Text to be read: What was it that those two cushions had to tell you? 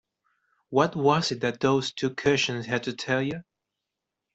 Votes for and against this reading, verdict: 2, 0, accepted